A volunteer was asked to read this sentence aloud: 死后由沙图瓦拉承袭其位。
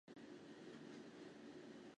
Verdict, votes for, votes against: rejected, 2, 6